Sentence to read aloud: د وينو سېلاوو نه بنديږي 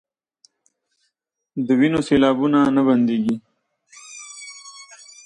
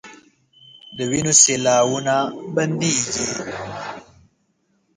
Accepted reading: first